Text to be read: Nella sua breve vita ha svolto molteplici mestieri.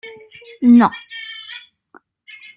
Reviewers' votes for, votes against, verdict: 0, 2, rejected